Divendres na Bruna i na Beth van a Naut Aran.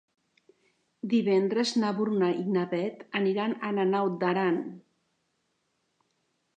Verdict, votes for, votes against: rejected, 1, 5